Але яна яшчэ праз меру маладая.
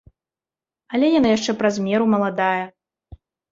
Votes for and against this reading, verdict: 2, 0, accepted